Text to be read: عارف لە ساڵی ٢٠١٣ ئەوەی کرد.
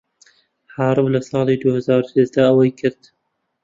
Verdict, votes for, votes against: rejected, 0, 2